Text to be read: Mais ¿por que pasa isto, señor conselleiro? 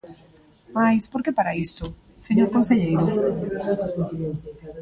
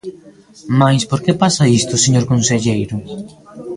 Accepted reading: second